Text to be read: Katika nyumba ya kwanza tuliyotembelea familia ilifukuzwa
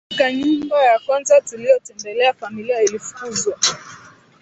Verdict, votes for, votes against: rejected, 1, 2